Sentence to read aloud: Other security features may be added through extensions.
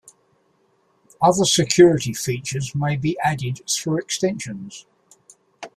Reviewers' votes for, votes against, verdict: 2, 0, accepted